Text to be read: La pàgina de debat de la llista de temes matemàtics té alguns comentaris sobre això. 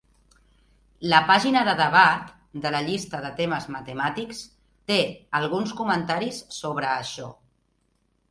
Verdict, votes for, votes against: accepted, 2, 0